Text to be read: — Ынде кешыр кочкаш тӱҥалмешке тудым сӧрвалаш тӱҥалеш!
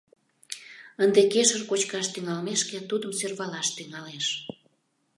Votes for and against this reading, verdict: 2, 0, accepted